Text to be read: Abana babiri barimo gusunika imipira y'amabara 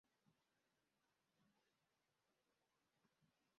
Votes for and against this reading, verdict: 0, 2, rejected